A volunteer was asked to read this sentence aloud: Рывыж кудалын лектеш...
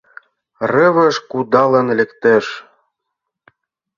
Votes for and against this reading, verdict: 2, 0, accepted